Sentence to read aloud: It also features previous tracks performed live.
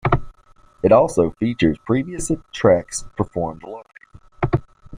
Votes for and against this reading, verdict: 0, 2, rejected